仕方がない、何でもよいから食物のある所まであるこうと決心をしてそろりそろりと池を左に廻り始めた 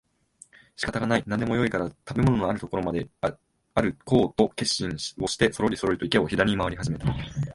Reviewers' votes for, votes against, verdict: 1, 2, rejected